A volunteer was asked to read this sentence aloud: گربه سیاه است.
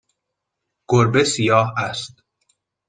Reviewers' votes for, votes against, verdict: 2, 0, accepted